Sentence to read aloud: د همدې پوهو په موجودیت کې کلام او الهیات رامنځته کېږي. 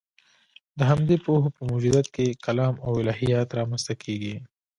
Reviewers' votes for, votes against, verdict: 1, 2, rejected